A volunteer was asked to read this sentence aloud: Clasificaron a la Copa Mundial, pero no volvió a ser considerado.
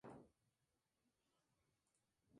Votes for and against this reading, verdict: 0, 2, rejected